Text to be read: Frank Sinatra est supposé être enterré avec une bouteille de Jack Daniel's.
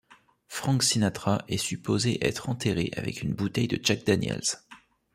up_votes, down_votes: 2, 0